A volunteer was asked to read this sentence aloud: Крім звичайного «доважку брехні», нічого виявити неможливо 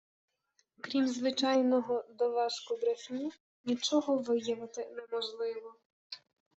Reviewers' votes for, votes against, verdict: 1, 2, rejected